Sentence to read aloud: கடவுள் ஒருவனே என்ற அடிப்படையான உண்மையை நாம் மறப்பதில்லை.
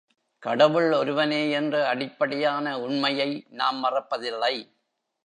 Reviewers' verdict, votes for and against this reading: accepted, 3, 0